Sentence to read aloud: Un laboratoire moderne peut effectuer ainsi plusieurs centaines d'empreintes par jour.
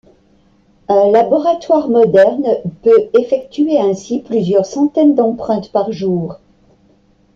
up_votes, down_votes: 2, 0